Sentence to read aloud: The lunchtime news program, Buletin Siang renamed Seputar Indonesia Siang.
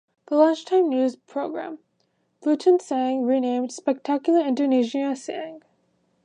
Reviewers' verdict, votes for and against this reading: rejected, 0, 3